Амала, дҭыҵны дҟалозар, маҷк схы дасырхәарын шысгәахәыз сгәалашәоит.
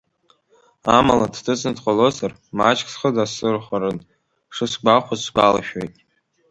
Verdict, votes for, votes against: accepted, 2, 0